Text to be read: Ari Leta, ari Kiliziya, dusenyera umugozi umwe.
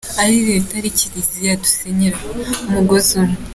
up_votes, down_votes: 2, 0